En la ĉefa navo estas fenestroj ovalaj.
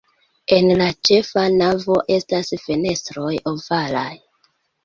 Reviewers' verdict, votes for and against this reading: accepted, 2, 1